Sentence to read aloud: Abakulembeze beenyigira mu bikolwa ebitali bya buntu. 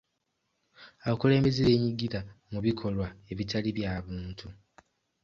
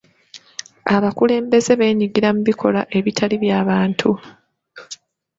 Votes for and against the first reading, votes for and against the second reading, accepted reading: 2, 0, 1, 2, first